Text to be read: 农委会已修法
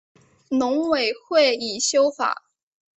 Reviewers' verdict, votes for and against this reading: accepted, 3, 0